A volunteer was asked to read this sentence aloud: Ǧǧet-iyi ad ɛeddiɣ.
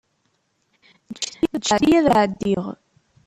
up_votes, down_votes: 1, 2